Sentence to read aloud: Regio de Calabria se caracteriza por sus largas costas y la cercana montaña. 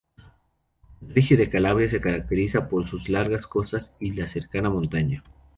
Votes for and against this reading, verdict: 2, 0, accepted